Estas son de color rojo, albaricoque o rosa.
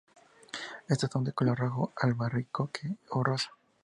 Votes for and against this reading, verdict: 0, 2, rejected